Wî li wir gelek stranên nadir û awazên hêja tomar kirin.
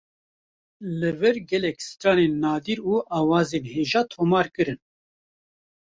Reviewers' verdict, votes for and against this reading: rejected, 0, 2